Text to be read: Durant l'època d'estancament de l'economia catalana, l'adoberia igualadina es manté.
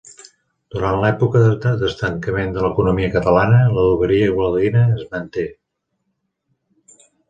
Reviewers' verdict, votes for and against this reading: rejected, 0, 2